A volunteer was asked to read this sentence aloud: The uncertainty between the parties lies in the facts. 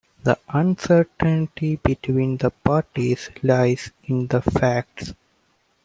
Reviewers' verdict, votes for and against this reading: accepted, 2, 0